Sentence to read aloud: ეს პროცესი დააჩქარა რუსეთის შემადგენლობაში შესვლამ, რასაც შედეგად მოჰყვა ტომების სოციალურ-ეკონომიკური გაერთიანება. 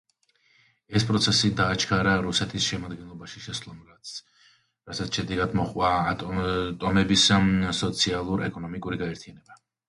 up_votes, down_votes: 0, 2